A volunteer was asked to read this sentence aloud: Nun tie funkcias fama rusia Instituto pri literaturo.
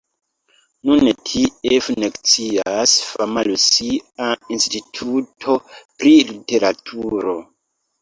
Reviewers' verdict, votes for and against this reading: rejected, 1, 2